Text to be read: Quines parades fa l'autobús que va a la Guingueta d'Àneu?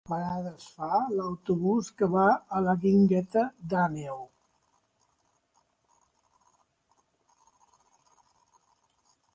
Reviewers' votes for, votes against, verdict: 0, 2, rejected